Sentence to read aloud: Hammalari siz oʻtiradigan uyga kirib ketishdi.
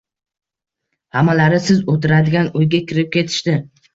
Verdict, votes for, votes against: accepted, 2, 0